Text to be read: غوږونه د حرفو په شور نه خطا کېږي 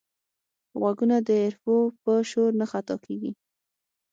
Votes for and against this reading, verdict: 6, 0, accepted